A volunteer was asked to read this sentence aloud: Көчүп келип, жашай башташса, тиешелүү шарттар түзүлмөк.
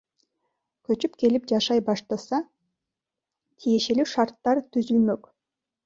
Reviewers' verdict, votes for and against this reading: rejected, 1, 2